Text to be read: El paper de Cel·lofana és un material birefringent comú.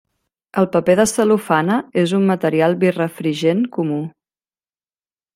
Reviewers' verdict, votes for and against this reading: rejected, 1, 2